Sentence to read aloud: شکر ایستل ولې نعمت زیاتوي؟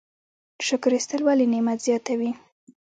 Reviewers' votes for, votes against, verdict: 0, 2, rejected